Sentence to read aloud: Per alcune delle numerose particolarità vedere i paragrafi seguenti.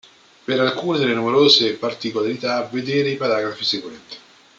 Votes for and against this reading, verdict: 1, 2, rejected